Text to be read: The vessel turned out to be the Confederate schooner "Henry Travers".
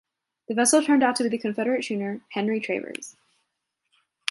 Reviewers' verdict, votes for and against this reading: accepted, 2, 1